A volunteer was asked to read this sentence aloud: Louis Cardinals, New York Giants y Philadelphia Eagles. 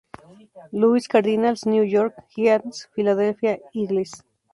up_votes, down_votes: 0, 2